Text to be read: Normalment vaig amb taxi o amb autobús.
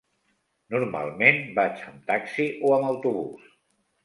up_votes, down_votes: 3, 0